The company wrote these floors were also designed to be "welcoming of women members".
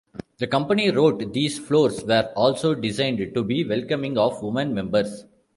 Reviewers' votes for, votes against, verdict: 2, 1, accepted